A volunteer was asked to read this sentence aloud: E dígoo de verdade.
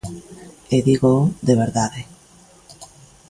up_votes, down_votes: 3, 0